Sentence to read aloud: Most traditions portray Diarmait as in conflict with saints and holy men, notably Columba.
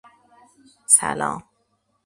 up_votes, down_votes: 0, 2